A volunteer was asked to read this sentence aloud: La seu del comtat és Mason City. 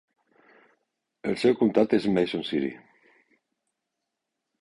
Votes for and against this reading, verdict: 0, 3, rejected